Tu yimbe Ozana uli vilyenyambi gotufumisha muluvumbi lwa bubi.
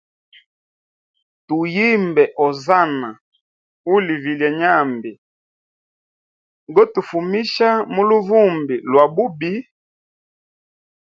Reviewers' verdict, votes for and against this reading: accepted, 2, 0